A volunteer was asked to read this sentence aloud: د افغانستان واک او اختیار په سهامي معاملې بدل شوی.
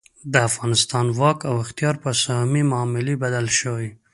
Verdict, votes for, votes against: accepted, 2, 0